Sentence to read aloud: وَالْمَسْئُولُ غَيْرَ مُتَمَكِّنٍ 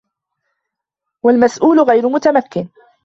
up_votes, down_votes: 2, 1